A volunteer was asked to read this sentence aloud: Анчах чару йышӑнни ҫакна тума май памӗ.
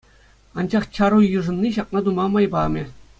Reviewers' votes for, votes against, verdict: 2, 0, accepted